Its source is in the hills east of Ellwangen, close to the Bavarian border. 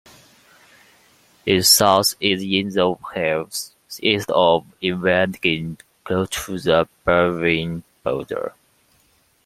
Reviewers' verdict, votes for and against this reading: accepted, 2, 1